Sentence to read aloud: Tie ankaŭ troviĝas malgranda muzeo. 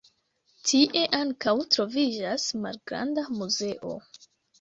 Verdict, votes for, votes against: accepted, 2, 0